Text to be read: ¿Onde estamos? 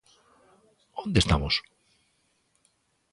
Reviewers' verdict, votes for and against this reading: accepted, 2, 0